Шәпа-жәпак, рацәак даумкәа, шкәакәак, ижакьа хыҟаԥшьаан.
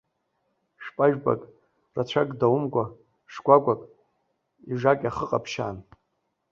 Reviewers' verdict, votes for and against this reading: accepted, 2, 0